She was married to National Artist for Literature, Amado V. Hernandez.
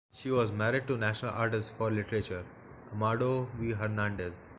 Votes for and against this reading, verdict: 1, 2, rejected